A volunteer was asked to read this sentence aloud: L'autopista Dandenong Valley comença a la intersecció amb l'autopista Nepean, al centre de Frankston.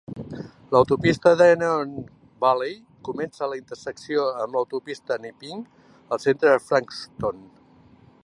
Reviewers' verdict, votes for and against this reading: rejected, 1, 2